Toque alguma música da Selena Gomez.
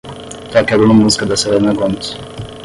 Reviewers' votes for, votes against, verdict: 5, 5, rejected